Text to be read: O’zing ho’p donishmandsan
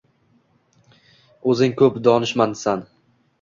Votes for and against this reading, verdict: 1, 2, rejected